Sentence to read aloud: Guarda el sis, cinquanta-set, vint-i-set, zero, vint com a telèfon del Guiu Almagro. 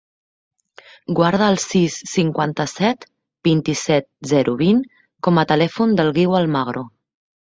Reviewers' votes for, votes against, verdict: 3, 0, accepted